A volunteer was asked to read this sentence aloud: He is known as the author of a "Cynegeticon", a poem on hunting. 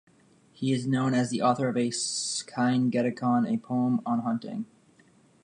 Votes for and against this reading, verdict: 1, 2, rejected